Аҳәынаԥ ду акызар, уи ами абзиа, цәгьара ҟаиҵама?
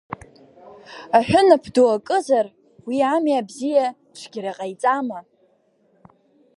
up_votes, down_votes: 1, 2